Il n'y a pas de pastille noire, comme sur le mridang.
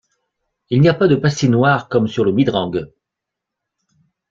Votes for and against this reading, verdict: 1, 2, rejected